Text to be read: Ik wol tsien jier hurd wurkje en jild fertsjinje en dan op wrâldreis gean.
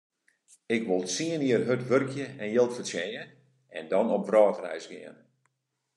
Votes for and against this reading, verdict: 2, 0, accepted